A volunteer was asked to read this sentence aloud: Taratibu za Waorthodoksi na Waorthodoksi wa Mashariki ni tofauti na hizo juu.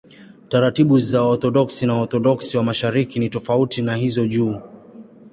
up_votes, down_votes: 2, 0